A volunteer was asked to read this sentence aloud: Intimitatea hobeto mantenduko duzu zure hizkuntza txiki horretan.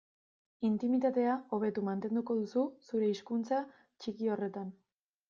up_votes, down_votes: 2, 0